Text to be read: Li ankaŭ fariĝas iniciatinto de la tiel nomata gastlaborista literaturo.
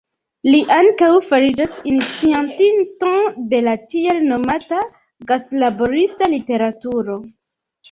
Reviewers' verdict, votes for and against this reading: rejected, 1, 2